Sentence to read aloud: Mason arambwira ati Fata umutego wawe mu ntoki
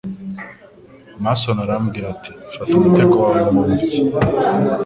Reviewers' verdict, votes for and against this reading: accepted, 2, 0